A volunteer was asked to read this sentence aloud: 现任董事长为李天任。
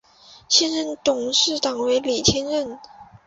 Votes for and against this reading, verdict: 5, 0, accepted